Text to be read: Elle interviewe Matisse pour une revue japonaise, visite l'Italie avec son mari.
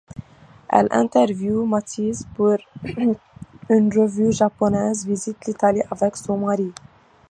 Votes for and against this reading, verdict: 2, 0, accepted